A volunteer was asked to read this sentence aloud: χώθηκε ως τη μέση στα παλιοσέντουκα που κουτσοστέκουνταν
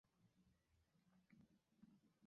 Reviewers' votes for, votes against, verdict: 0, 2, rejected